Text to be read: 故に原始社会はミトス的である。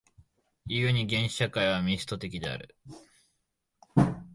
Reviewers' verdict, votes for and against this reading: rejected, 1, 2